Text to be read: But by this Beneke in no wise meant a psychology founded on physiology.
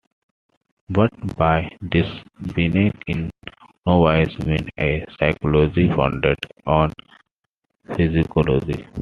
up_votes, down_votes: 2, 0